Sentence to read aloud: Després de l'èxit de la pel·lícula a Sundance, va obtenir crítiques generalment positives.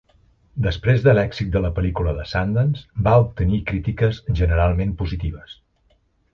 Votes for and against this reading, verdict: 0, 2, rejected